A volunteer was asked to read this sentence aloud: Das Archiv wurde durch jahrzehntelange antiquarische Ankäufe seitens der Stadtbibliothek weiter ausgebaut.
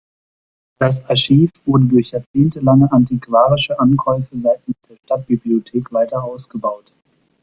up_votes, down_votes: 0, 2